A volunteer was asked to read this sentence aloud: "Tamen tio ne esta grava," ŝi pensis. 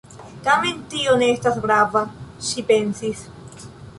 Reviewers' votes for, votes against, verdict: 2, 1, accepted